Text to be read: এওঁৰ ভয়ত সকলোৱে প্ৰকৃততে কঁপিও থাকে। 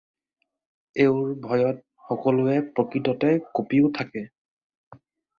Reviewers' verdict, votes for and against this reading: accepted, 4, 0